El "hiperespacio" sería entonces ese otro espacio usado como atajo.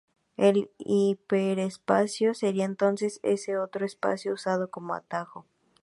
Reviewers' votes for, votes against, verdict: 2, 0, accepted